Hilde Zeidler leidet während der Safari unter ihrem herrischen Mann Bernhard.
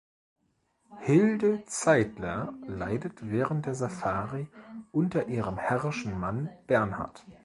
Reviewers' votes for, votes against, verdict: 2, 0, accepted